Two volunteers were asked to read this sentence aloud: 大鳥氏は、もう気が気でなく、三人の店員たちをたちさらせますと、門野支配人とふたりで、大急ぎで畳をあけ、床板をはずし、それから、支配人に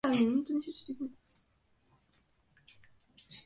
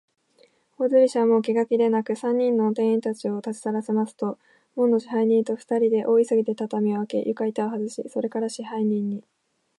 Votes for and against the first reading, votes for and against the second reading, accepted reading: 0, 2, 2, 0, second